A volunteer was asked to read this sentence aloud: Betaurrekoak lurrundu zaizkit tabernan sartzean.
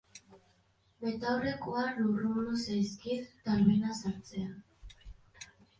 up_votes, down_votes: 2, 0